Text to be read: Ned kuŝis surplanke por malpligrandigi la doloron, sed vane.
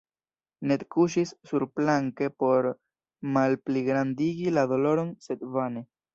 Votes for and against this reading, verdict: 1, 2, rejected